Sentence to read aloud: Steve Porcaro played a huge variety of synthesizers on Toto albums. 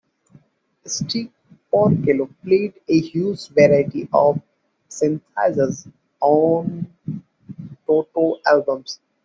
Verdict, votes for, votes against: rejected, 1, 2